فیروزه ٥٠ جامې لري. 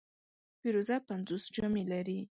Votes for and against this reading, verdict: 0, 2, rejected